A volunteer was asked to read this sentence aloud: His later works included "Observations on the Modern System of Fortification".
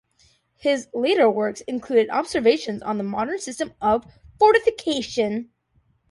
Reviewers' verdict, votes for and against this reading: accepted, 2, 0